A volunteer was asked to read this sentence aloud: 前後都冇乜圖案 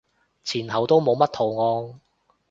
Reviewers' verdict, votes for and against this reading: accepted, 2, 0